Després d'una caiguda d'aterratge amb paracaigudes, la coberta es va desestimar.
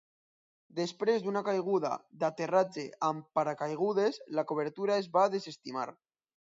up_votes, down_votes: 1, 2